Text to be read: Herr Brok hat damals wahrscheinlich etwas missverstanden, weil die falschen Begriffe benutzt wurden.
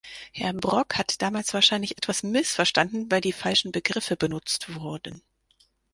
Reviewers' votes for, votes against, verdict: 4, 0, accepted